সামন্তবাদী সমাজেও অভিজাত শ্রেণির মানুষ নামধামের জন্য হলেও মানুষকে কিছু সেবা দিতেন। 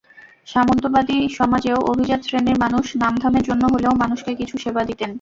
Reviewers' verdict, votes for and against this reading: accepted, 2, 0